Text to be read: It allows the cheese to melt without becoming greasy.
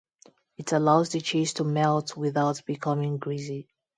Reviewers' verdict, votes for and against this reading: accepted, 2, 0